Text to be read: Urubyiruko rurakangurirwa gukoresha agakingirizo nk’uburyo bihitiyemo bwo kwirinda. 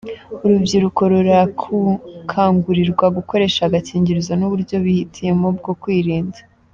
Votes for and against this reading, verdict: 1, 2, rejected